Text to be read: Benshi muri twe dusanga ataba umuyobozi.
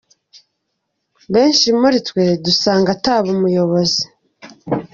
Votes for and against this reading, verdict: 2, 0, accepted